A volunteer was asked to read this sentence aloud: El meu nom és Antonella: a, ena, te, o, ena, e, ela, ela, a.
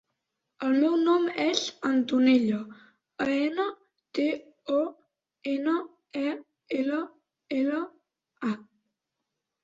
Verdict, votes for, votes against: accepted, 3, 0